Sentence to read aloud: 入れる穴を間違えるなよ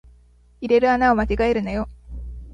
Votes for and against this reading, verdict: 2, 0, accepted